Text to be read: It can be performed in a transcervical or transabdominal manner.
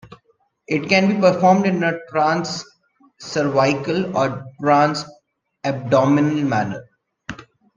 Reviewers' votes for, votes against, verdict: 1, 2, rejected